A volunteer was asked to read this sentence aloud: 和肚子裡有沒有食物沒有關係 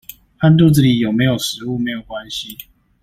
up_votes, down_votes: 2, 0